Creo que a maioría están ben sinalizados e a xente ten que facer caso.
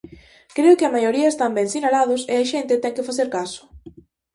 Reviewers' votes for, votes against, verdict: 0, 4, rejected